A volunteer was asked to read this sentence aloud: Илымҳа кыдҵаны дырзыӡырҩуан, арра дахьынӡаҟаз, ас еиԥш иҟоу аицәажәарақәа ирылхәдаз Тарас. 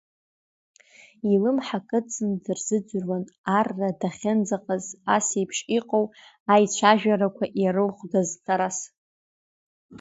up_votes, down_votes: 2, 0